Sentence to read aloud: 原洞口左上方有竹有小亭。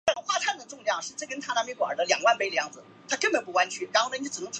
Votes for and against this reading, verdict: 1, 2, rejected